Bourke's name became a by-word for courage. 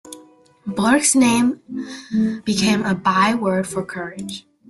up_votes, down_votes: 0, 2